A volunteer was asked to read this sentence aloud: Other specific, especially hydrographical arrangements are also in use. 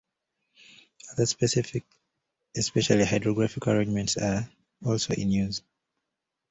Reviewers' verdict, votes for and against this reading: rejected, 1, 2